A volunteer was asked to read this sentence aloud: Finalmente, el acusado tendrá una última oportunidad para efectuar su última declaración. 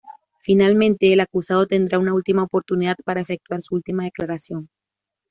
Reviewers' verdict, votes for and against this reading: accepted, 2, 0